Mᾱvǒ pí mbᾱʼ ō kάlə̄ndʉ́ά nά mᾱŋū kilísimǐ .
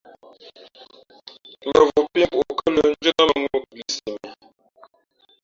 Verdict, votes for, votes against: rejected, 0, 2